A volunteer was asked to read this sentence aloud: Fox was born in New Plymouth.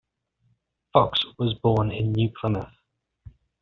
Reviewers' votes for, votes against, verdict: 1, 2, rejected